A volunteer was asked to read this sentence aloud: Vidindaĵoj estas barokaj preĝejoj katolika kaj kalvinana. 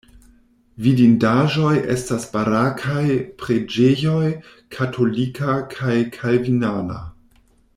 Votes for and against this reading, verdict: 0, 2, rejected